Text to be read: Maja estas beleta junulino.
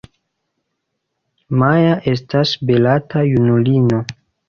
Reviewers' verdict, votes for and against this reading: rejected, 1, 2